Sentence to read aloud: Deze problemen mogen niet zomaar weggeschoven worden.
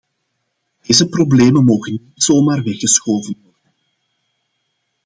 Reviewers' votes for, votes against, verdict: 0, 2, rejected